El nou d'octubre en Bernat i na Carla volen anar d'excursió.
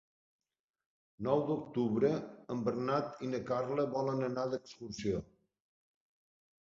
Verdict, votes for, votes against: rejected, 0, 2